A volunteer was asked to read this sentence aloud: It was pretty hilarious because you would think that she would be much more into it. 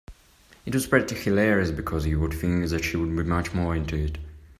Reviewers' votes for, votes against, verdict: 1, 2, rejected